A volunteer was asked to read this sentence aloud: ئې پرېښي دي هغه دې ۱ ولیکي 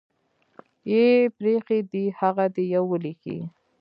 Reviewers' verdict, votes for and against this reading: rejected, 0, 2